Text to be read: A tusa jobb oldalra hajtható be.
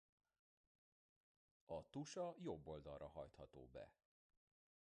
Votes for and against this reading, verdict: 1, 2, rejected